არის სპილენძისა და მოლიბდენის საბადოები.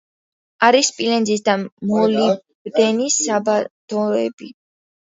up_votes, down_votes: 1, 2